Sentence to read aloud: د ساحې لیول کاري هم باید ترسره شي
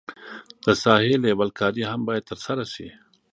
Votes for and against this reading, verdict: 1, 2, rejected